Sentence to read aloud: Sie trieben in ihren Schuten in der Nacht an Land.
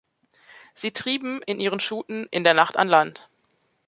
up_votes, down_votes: 2, 0